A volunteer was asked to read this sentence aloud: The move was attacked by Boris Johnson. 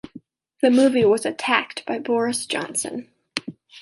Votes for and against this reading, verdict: 0, 2, rejected